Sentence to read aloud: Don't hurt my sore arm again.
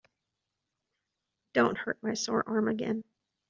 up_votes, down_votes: 2, 0